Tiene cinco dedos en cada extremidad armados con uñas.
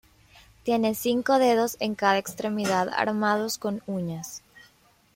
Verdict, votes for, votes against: accepted, 2, 0